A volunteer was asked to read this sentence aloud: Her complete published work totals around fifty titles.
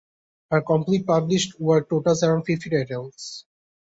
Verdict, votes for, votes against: rejected, 1, 2